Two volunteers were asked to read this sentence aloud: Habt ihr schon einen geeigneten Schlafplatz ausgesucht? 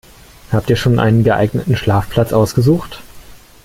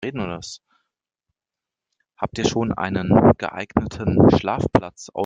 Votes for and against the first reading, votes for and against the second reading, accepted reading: 2, 0, 0, 3, first